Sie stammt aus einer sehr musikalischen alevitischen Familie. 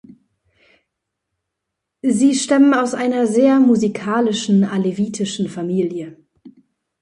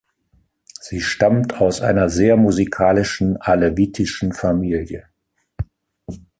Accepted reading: second